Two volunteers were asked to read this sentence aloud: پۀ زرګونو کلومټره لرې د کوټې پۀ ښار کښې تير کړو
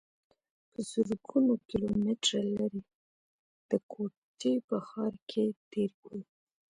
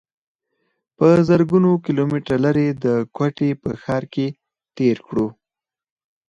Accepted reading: second